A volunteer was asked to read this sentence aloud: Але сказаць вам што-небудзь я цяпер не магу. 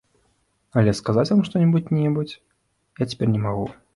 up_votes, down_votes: 1, 2